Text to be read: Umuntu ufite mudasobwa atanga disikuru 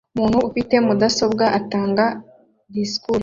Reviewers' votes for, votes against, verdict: 2, 0, accepted